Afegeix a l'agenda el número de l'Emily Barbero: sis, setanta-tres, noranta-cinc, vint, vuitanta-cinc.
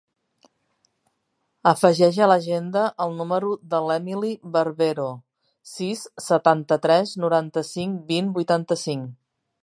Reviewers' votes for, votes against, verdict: 3, 0, accepted